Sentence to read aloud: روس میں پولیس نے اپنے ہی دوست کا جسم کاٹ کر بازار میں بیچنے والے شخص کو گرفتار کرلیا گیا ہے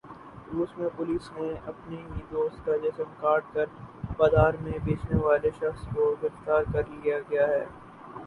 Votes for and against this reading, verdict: 0, 2, rejected